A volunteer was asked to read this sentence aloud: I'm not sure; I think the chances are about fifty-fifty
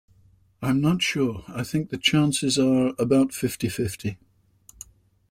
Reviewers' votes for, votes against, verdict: 2, 0, accepted